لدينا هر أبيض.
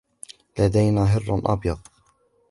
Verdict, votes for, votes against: accepted, 2, 0